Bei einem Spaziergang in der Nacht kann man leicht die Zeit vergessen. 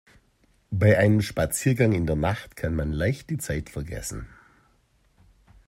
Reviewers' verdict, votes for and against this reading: accepted, 2, 0